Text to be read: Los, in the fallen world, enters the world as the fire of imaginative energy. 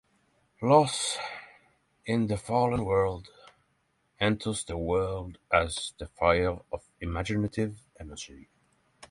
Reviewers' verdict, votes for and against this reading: accepted, 3, 0